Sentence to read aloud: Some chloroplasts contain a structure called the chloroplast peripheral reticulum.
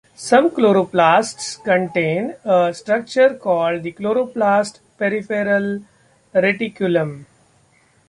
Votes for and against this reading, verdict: 2, 0, accepted